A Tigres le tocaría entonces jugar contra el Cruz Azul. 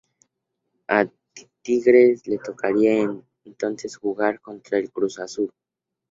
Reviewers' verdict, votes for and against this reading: accepted, 2, 0